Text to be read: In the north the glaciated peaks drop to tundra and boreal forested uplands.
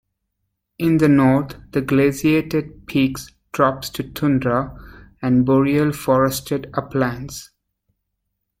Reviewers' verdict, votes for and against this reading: accepted, 2, 1